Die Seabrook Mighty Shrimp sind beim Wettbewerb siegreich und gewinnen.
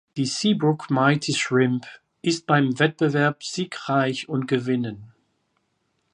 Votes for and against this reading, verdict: 0, 2, rejected